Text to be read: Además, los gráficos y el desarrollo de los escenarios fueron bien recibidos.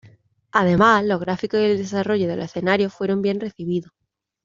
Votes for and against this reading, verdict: 1, 2, rejected